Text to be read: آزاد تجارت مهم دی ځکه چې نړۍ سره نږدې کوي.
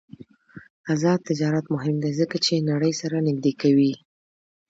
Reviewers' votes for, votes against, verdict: 2, 0, accepted